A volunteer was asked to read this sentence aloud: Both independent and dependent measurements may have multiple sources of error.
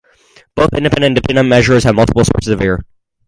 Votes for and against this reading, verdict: 2, 2, rejected